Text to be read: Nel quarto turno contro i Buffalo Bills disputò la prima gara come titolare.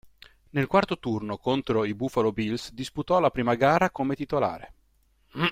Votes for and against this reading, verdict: 2, 0, accepted